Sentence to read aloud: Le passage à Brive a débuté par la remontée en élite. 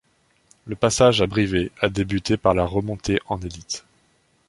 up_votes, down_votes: 1, 2